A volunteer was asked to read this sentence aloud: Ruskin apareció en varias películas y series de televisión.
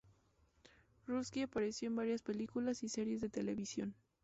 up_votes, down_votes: 0, 2